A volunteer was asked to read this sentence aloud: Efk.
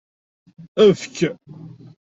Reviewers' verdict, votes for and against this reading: accepted, 2, 0